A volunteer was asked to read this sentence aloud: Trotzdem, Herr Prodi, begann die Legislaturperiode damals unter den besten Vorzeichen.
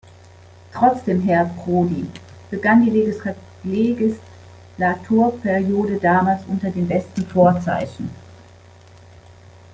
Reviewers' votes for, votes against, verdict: 0, 2, rejected